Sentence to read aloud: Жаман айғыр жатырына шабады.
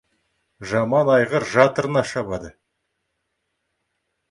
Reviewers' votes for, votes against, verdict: 2, 0, accepted